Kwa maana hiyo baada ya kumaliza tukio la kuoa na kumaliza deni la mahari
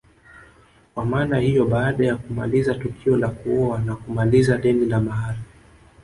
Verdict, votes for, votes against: rejected, 1, 2